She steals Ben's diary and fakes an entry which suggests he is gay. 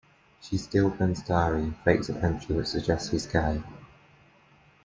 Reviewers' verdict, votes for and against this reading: rejected, 1, 2